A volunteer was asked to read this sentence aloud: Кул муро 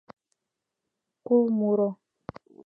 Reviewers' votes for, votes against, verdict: 2, 0, accepted